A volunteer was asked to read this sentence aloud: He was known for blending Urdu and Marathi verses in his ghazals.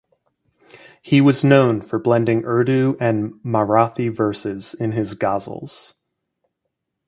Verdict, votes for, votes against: accepted, 4, 0